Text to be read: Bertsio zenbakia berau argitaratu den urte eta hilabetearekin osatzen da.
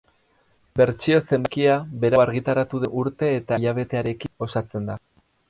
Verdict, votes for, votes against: rejected, 0, 4